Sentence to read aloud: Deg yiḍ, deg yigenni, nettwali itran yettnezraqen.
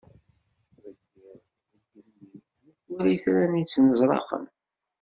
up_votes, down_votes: 1, 2